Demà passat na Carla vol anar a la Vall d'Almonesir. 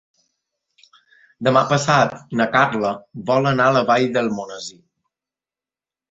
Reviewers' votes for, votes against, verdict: 3, 0, accepted